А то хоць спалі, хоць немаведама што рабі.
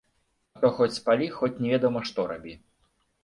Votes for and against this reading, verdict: 1, 2, rejected